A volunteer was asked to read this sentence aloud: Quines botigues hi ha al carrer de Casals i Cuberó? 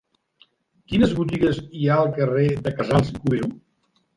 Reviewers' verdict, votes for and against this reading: rejected, 0, 3